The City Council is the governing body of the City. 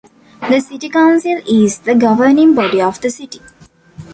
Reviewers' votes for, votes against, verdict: 2, 0, accepted